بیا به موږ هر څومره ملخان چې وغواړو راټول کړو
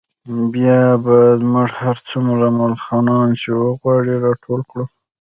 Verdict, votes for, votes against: accepted, 2, 1